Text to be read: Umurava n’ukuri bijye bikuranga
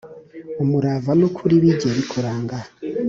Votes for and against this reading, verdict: 2, 0, accepted